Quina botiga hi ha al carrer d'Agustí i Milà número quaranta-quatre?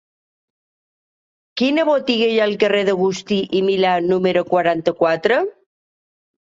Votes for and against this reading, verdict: 2, 0, accepted